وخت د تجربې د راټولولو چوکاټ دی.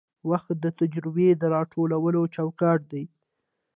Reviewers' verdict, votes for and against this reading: accepted, 2, 0